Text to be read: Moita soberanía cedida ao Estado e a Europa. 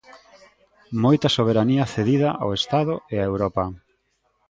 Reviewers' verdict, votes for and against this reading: accepted, 2, 0